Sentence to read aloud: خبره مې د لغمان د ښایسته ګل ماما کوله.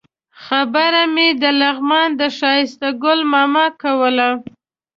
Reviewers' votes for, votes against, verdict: 2, 0, accepted